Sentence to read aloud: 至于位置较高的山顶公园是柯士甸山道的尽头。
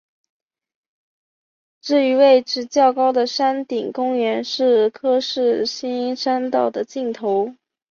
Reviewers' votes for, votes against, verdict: 1, 2, rejected